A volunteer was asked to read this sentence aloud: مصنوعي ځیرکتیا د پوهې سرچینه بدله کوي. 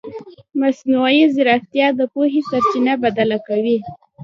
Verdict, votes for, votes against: accepted, 2, 1